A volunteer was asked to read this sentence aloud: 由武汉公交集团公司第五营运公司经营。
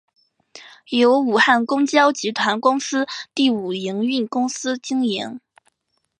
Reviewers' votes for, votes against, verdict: 4, 0, accepted